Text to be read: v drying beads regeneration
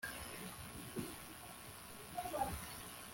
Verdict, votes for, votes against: rejected, 1, 2